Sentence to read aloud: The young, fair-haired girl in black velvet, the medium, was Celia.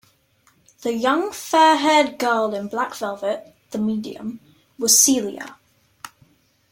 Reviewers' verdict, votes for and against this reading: accepted, 2, 0